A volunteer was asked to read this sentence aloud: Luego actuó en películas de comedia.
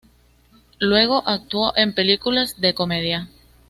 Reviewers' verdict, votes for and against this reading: accepted, 2, 0